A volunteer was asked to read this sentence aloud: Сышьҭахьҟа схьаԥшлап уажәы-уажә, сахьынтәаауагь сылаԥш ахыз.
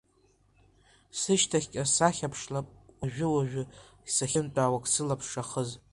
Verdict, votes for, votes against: accepted, 2, 1